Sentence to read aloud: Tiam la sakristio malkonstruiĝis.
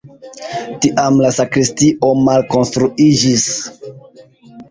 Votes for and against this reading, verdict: 0, 2, rejected